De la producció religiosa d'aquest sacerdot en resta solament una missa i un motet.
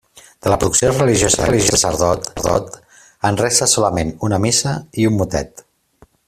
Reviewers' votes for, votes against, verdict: 0, 2, rejected